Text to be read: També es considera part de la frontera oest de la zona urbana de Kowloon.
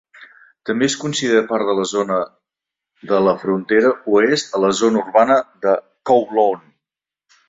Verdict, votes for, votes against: rejected, 0, 2